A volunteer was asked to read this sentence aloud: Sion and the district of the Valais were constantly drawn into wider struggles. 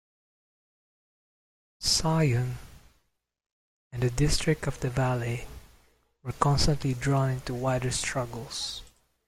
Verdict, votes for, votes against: accepted, 2, 0